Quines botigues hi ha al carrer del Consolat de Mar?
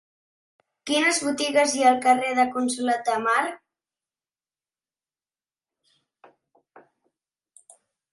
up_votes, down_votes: 2, 1